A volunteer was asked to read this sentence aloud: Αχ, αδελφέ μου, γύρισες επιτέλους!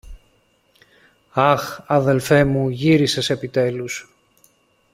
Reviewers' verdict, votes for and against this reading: accepted, 2, 0